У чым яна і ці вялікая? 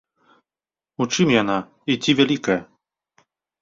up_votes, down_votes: 2, 0